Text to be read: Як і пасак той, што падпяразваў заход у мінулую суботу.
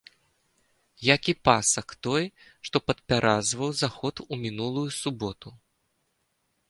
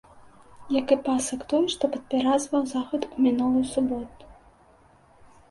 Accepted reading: first